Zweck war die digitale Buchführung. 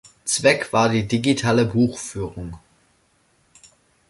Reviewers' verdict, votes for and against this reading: accepted, 2, 0